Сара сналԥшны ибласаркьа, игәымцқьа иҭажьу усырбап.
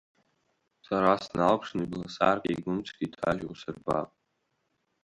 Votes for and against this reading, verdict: 2, 3, rejected